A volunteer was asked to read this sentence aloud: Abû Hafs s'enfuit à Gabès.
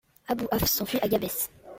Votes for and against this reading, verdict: 2, 0, accepted